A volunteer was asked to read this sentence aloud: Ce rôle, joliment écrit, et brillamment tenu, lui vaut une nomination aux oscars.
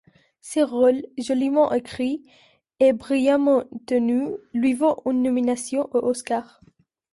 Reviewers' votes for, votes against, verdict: 2, 0, accepted